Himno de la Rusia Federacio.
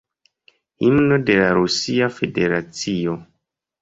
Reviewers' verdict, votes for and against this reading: rejected, 1, 2